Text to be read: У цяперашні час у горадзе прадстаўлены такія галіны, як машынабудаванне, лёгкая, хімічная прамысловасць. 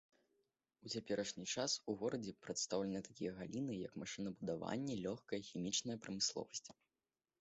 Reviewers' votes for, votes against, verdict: 2, 0, accepted